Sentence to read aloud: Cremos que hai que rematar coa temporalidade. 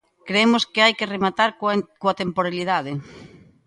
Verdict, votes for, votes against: rejected, 0, 2